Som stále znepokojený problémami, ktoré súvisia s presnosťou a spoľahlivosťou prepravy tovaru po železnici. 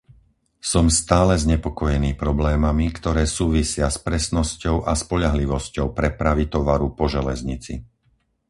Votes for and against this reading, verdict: 4, 0, accepted